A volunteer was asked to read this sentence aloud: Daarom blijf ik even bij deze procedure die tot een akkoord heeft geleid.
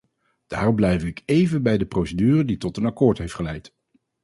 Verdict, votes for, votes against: rejected, 2, 2